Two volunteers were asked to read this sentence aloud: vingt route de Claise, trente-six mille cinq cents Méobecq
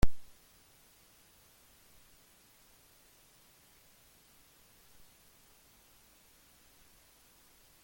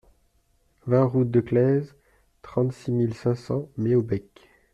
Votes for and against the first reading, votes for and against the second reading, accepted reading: 0, 2, 2, 0, second